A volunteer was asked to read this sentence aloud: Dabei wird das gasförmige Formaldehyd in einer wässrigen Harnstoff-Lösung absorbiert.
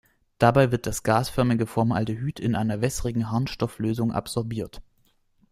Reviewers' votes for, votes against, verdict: 2, 0, accepted